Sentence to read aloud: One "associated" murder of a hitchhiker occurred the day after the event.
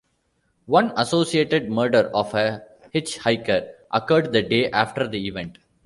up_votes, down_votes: 2, 0